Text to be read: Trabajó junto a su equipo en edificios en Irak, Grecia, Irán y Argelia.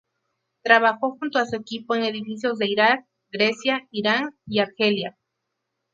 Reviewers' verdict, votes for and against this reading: rejected, 0, 2